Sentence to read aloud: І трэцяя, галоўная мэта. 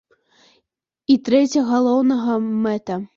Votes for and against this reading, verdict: 0, 2, rejected